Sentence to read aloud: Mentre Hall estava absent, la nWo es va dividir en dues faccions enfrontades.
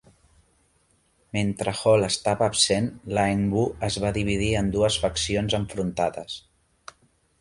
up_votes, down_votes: 3, 1